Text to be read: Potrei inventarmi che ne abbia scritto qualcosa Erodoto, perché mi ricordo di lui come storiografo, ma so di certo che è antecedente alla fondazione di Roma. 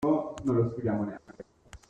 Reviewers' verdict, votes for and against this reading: rejected, 0, 2